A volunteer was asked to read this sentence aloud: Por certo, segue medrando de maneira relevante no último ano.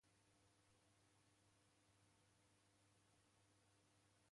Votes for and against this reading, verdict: 0, 2, rejected